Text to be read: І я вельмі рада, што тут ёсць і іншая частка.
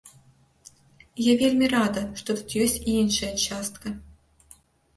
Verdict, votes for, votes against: accepted, 2, 1